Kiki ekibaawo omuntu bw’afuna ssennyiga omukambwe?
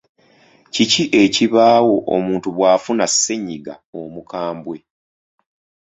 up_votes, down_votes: 2, 0